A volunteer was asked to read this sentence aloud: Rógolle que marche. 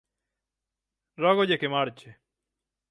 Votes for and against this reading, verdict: 6, 0, accepted